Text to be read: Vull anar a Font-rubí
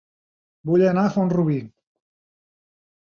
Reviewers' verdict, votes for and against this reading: accepted, 2, 0